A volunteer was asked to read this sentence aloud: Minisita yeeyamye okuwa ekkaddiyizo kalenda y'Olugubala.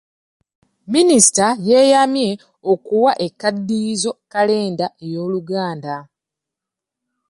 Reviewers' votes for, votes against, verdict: 0, 2, rejected